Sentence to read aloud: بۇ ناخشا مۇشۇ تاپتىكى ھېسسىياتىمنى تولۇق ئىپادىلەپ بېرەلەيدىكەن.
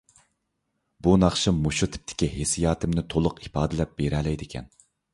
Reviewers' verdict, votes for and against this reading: rejected, 0, 2